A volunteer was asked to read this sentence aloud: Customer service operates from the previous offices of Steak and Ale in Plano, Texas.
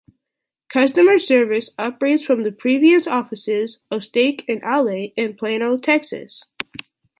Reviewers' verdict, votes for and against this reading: accepted, 2, 1